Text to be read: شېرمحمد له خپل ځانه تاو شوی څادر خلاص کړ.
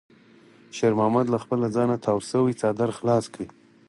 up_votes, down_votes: 4, 0